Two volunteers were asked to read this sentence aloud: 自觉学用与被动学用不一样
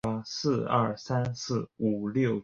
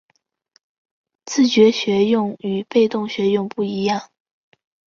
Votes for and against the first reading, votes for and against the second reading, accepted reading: 1, 5, 3, 0, second